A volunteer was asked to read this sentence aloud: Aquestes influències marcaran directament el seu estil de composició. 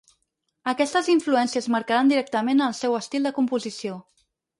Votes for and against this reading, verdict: 4, 0, accepted